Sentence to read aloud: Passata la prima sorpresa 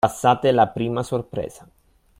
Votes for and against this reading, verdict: 0, 2, rejected